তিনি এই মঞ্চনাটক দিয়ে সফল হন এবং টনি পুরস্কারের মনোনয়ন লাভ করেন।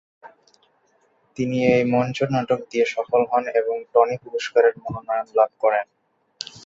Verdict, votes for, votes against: accepted, 2, 0